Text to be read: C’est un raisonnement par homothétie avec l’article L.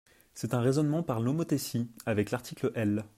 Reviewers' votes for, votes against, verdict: 0, 2, rejected